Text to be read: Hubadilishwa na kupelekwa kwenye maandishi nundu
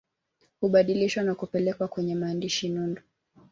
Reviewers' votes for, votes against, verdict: 3, 0, accepted